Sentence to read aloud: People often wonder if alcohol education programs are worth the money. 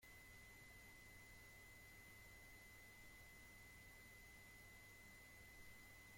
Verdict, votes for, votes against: rejected, 0, 2